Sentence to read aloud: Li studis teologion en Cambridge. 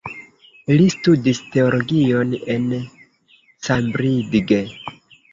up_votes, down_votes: 1, 2